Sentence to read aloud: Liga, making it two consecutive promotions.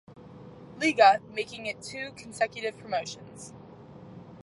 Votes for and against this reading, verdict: 2, 0, accepted